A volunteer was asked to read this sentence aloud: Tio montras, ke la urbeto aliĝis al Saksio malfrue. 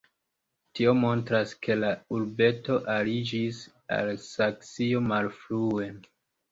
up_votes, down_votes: 2, 0